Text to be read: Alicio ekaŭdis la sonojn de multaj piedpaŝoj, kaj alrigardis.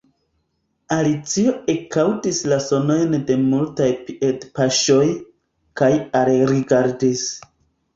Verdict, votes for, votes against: accepted, 2, 1